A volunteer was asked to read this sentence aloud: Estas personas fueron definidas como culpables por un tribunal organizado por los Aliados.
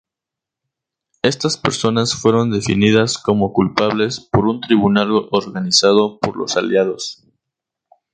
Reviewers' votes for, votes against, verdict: 2, 2, rejected